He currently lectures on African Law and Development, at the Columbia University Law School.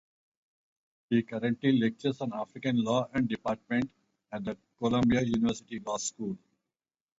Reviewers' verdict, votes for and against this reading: rejected, 0, 4